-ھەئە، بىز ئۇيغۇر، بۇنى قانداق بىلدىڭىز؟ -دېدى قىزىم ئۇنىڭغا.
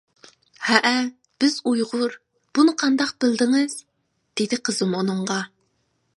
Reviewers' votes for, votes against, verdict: 2, 0, accepted